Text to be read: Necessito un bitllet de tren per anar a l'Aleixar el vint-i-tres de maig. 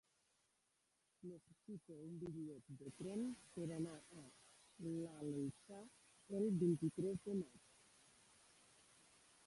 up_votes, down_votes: 0, 2